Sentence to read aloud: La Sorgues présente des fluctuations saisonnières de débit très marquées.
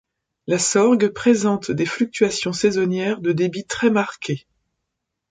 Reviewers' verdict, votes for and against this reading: accepted, 2, 0